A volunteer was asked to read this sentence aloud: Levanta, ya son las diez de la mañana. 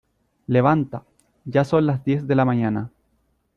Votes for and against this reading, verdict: 2, 0, accepted